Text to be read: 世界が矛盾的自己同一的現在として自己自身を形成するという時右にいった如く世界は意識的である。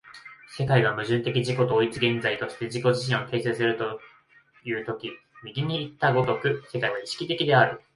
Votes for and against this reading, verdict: 2, 0, accepted